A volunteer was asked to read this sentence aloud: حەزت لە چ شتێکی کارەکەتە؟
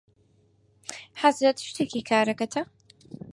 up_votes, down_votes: 2, 4